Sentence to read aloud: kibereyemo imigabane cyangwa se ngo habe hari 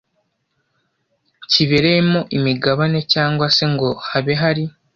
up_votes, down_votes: 2, 0